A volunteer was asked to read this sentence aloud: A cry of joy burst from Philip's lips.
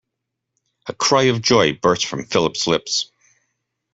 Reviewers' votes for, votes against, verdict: 2, 0, accepted